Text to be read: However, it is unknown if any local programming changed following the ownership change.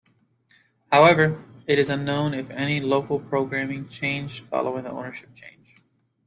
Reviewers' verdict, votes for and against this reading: accepted, 2, 0